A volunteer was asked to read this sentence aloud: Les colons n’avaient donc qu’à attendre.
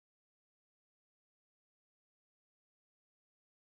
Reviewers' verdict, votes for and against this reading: rejected, 0, 2